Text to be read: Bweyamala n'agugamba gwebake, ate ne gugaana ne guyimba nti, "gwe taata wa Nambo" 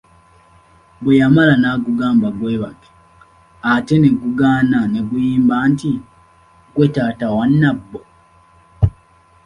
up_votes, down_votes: 2, 1